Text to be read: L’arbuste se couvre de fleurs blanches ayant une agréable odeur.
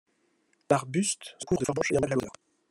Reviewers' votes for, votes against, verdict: 0, 2, rejected